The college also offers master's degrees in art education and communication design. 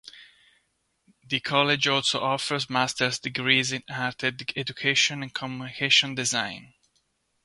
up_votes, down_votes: 0, 2